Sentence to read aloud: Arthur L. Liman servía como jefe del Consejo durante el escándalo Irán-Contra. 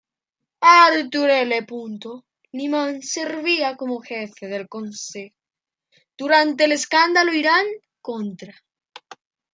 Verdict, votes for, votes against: rejected, 1, 2